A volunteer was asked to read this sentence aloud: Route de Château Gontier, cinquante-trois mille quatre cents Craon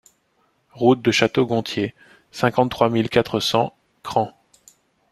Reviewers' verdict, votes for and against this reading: accepted, 2, 0